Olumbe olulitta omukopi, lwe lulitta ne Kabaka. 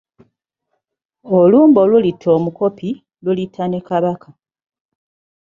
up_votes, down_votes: 1, 2